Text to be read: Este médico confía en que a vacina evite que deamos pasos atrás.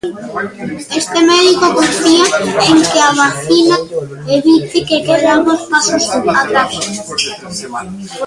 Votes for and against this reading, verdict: 0, 2, rejected